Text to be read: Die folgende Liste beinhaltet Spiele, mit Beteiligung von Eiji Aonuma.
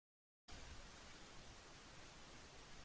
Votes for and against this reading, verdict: 0, 2, rejected